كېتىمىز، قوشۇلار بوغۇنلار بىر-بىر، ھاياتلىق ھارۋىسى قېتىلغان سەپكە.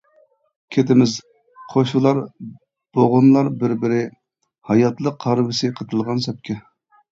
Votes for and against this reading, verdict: 1, 2, rejected